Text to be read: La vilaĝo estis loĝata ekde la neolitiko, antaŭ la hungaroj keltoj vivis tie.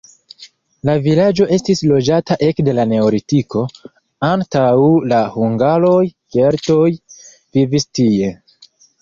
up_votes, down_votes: 1, 2